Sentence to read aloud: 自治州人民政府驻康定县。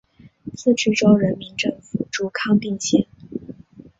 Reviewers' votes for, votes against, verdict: 0, 2, rejected